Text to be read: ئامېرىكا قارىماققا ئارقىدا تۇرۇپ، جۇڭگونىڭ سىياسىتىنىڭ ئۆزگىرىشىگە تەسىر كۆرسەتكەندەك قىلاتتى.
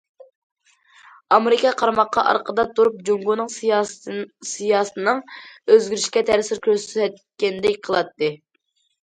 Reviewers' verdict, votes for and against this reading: rejected, 0, 2